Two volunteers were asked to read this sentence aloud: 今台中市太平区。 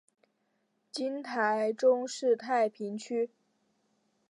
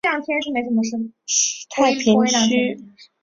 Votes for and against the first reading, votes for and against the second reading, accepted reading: 3, 0, 1, 4, first